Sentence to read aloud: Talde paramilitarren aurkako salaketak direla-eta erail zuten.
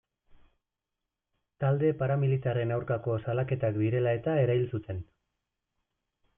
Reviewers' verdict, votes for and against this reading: accepted, 2, 0